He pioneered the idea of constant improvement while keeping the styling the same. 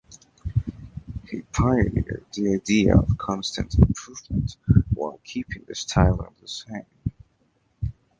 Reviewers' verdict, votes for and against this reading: accepted, 2, 0